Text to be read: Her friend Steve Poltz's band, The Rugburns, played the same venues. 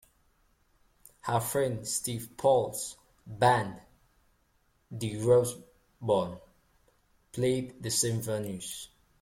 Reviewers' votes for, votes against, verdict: 0, 3, rejected